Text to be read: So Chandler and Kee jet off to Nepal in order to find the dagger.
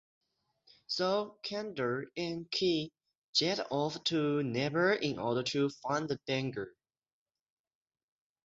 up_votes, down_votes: 0, 6